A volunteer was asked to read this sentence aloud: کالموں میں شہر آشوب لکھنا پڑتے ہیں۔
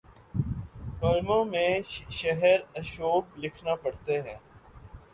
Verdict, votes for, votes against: accepted, 2, 0